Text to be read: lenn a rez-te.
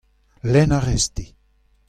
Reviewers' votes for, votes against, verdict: 2, 0, accepted